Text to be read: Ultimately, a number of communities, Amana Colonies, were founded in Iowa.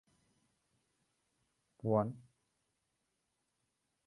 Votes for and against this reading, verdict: 0, 2, rejected